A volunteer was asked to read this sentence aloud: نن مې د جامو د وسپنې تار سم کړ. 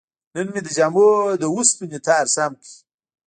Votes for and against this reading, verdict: 0, 2, rejected